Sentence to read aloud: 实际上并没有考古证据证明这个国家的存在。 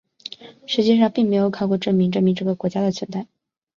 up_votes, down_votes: 2, 1